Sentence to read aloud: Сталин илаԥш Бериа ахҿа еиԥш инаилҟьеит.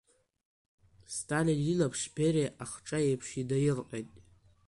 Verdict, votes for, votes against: accepted, 2, 1